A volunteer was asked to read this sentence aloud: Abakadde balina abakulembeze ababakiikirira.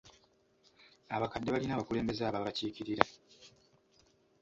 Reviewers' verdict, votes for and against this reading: accepted, 2, 0